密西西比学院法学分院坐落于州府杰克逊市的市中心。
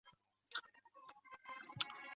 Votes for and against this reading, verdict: 0, 3, rejected